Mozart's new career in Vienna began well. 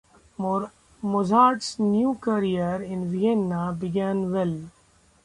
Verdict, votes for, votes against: rejected, 1, 2